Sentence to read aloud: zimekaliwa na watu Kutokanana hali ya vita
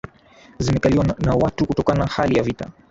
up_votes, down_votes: 2, 0